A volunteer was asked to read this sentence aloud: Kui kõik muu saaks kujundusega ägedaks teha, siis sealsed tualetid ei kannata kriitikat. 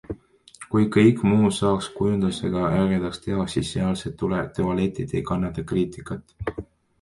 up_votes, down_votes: 0, 2